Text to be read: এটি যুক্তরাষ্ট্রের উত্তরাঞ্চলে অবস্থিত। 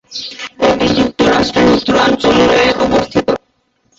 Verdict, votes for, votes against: rejected, 2, 2